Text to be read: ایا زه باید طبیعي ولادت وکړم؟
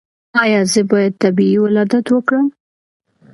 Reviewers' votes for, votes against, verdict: 2, 0, accepted